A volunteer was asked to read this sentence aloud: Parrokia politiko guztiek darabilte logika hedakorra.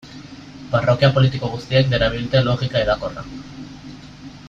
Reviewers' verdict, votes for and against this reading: accepted, 2, 0